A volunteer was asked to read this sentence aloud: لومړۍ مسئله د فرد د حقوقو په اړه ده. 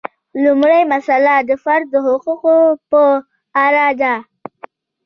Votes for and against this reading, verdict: 2, 0, accepted